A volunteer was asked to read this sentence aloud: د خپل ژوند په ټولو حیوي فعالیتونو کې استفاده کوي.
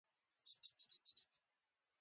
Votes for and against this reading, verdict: 1, 2, rejected